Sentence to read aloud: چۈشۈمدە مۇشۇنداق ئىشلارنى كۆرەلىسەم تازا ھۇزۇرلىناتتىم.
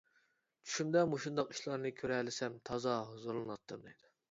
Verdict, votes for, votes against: rejected, 1, 2